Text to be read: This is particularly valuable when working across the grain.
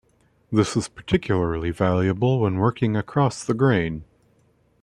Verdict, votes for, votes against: rejected, 1, 2